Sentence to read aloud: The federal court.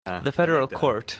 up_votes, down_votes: 0, 2